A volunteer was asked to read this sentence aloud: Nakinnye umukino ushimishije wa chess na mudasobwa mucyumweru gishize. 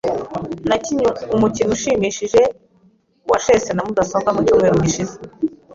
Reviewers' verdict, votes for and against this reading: accepted, 2, 0